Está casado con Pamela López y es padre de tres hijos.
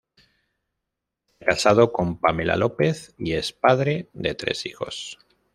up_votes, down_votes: 1, 2